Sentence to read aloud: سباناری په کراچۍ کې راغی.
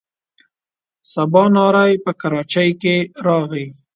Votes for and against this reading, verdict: 2, 0, accepted